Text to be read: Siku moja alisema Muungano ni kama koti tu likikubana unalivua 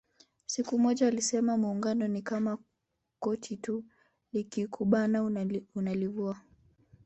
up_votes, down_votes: 2, 0